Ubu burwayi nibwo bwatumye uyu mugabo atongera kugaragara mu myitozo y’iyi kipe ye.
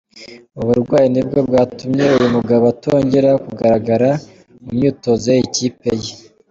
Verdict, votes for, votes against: accepted, 2, 0